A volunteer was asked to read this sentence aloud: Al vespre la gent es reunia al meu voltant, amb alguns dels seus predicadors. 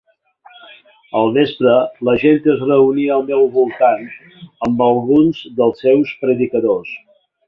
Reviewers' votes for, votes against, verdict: 3, 0, accepted